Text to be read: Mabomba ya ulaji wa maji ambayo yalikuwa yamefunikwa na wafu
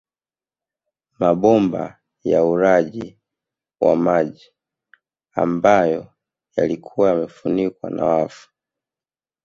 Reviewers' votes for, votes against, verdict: 1, 2, rejected